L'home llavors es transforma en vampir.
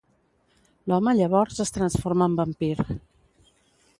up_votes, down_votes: 2, 0